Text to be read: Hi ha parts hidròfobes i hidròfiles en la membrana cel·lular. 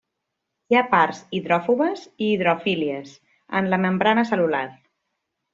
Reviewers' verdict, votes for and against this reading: rejected, 1, 2